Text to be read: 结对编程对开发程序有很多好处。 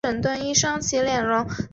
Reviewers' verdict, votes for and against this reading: rejected, 1, 3